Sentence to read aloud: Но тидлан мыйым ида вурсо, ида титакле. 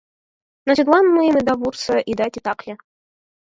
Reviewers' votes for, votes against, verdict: 4, 0, accepted